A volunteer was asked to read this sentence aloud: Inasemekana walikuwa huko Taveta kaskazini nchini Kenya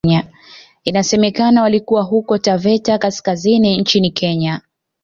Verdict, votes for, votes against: rejected, 1, 2